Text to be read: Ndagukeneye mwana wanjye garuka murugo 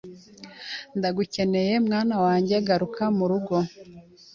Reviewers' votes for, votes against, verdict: 2, 0, accepted